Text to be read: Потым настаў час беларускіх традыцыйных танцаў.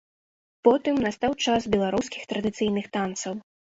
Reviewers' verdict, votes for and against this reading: accepted, 2, 0